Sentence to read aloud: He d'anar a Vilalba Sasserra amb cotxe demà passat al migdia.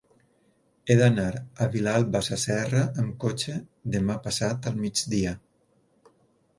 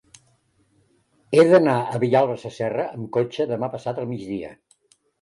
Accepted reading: first